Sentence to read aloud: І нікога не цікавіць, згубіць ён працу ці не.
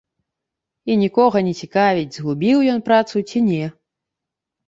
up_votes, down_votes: 0, 2